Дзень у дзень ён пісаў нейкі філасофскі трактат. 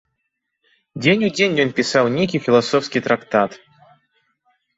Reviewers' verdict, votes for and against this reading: accepted, 2, 0